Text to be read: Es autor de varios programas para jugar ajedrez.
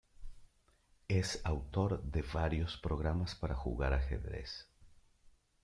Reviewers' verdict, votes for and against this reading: accepted, 2, 0